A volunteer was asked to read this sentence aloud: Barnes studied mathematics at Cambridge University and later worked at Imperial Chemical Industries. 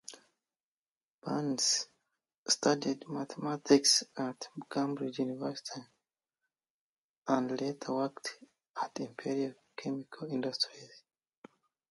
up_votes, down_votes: 0, 2